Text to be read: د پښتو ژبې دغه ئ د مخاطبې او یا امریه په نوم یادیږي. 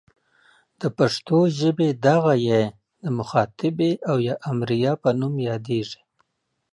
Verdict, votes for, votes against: accepted, 2, 0